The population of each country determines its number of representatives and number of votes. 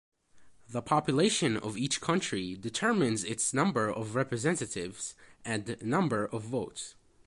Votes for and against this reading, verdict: 2, 1, accepted